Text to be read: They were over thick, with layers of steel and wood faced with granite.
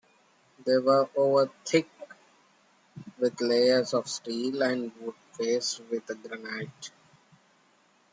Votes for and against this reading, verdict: 3, 2, accepted